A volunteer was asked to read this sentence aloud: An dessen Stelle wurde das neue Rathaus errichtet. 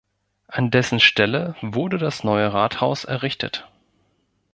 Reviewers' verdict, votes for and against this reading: accepted, 2, 0